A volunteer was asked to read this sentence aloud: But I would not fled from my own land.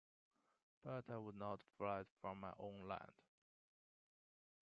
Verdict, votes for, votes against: rejected, 1, 2